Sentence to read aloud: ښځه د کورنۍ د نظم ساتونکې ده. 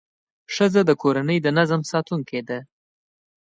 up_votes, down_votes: 2, 0